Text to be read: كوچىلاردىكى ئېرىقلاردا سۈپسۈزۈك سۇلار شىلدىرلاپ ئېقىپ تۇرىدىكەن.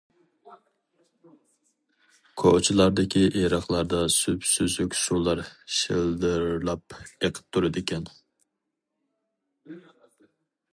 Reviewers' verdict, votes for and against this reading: accepted, 2, 0